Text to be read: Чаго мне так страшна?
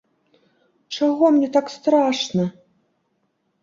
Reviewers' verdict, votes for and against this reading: accepted, 2, 0